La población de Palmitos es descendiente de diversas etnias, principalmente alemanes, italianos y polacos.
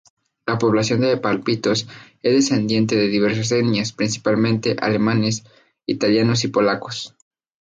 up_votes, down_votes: 2, 2